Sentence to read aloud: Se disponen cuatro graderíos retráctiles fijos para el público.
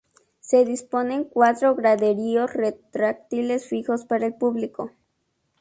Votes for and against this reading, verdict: 2, 0, accepted